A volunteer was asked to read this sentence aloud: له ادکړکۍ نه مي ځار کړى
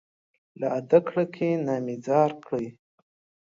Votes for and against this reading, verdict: 2, 0, accepted